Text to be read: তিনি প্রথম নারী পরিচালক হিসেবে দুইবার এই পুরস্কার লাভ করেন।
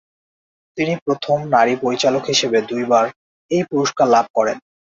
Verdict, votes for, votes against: accepted, 2, 1